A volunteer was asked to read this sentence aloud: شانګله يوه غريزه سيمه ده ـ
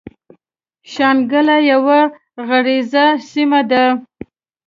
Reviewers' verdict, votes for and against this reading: rejected, 1, 2